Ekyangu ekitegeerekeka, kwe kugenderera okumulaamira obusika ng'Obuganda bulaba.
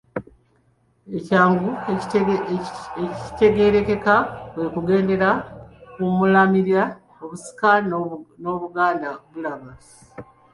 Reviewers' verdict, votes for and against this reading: rejected, 0, 2